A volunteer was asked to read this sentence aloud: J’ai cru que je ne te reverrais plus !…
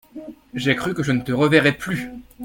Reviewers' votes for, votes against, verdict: 2, 0, accepted